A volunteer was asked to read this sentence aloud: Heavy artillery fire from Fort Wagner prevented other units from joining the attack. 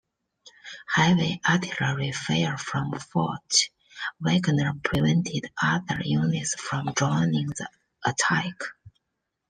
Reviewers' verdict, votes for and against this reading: accepted, 2, 1